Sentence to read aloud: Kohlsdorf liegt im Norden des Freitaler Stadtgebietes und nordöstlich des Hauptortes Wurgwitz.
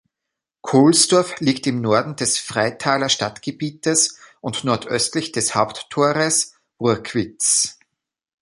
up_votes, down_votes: 1, 2